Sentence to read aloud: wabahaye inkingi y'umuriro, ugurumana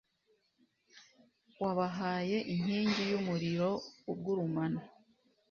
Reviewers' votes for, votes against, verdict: 2, 0, accepted